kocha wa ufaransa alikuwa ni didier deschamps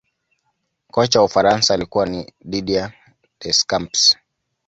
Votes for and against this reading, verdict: 2, 0, accepted